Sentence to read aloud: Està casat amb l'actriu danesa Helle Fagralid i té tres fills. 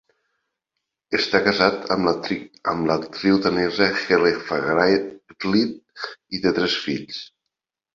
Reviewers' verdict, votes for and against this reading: rejected, 0, 2